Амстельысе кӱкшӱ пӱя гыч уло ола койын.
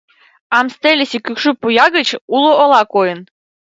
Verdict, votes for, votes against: rejected, 1, 4